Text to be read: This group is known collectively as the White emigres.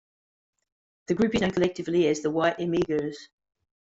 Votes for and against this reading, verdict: 0, 2, rejected